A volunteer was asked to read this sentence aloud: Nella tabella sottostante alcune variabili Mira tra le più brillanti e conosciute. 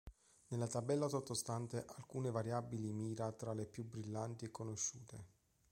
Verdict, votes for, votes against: accepted, 2, 0